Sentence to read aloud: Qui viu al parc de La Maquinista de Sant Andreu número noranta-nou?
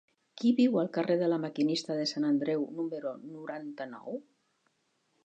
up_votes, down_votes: 1, 2